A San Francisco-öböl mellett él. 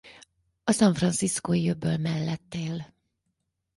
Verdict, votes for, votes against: rejected, 2, 4